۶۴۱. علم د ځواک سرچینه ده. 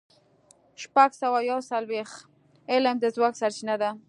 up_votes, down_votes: 0, 2